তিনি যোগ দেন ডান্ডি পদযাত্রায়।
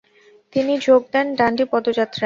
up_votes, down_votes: 4, 0